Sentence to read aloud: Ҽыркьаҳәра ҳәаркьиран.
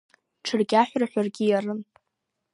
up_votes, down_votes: 1, 2